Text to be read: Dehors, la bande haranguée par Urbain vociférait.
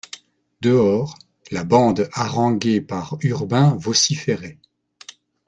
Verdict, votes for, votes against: accepted, 2, 0